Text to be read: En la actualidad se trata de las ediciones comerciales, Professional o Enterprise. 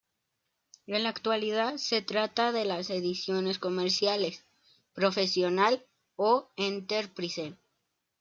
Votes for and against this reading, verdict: 2, 0, accepted